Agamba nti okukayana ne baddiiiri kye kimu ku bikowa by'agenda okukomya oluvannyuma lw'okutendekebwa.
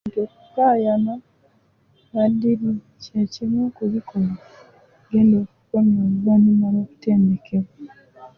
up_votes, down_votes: 0, 2